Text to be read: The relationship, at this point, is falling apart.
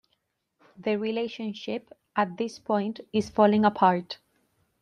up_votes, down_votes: 2, 0